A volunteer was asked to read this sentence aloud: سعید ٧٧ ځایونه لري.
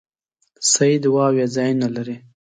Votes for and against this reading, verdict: 0, 2, rejected